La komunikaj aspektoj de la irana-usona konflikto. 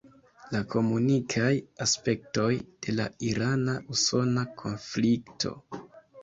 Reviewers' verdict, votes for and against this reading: accepted, 2, 0